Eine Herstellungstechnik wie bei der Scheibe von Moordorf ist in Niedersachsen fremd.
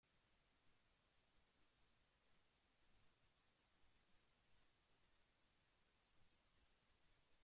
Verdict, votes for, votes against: rejected, 0, 2